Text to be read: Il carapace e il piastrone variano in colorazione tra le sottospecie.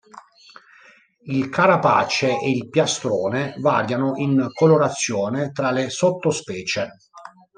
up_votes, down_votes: 2, 1